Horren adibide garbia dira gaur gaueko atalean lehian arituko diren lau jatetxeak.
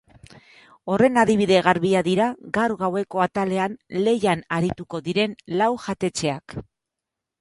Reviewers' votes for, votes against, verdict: 4, 0, accepted